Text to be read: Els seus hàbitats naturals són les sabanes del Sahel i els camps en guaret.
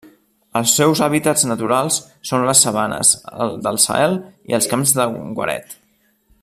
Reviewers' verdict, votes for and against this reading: rejected, 1, 2